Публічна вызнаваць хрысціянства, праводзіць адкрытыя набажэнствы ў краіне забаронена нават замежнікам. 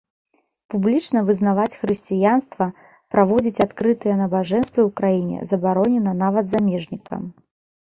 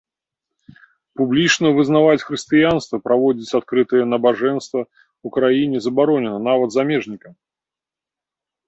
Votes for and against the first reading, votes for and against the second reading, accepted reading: 2, 0, 1, 3, first